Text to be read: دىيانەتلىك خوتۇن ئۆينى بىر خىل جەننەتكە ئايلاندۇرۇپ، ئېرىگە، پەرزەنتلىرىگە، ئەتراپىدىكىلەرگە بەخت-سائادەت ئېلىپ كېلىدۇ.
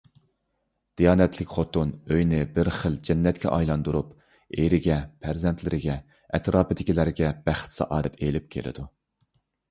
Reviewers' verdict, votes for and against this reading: accepted, 2, 0